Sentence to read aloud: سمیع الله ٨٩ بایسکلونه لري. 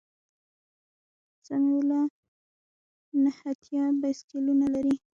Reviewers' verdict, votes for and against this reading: rejected, 0, 2